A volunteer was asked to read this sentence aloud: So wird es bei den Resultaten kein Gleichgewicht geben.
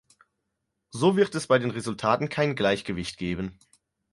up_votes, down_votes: 4, 0